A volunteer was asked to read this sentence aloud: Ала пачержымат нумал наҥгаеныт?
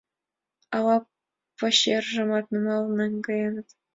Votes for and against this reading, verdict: 2, 1, accepted